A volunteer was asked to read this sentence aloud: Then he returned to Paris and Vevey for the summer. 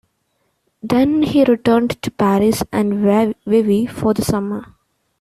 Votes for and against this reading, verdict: 1, 2, rejected